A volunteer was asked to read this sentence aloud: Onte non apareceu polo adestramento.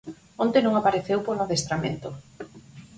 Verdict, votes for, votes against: accepted, 4, 0